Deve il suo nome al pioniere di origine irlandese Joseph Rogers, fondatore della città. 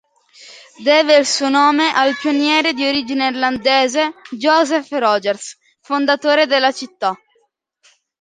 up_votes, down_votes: 2, 0